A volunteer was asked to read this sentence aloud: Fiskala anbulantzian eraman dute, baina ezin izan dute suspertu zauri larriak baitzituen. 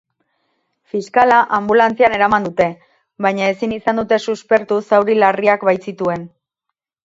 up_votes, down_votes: 4, 2